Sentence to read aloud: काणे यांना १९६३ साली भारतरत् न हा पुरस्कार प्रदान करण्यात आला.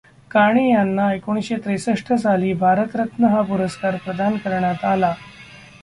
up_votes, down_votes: 0, 2